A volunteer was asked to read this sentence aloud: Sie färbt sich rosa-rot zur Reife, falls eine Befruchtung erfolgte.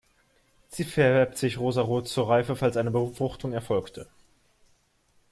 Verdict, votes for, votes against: rejected, 1, 2